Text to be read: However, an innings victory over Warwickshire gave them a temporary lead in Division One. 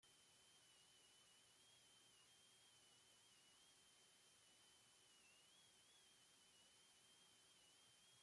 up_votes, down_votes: 0, 2